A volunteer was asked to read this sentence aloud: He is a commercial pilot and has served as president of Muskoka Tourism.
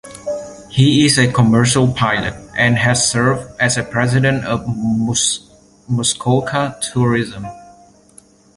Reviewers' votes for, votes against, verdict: 1, 2, rejected